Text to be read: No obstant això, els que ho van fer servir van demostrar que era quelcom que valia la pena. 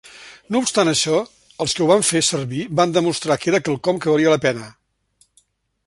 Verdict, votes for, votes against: accepted, 3, 0